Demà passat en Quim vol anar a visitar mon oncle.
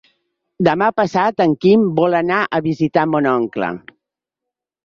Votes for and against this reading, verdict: 3, 0, accepted